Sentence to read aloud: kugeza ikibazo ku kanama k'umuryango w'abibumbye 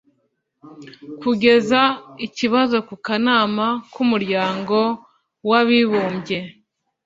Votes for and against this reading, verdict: 2, 0, accepted